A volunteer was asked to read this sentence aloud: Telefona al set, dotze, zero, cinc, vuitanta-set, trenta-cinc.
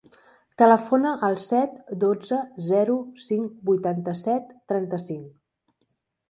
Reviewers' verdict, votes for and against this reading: accepted, 3, 0